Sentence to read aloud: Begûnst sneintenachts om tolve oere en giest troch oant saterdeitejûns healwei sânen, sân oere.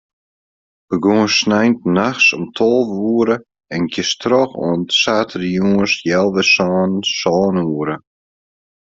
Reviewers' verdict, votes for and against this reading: accepted, 2, 0